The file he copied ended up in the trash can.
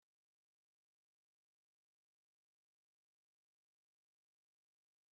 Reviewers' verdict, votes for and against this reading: rejected, 0, 2